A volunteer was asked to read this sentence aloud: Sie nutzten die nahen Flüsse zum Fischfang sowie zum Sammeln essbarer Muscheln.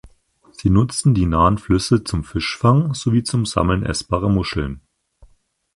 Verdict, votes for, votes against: accepted, 4, 0